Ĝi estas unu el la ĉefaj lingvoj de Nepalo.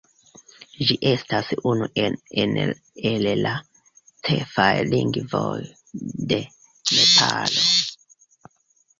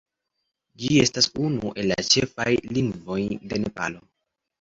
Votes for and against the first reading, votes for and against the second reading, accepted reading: 0, 2, 2, 0, second